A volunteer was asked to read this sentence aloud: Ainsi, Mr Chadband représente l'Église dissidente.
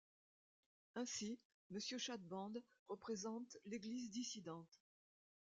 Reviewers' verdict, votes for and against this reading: rejected, 1, 2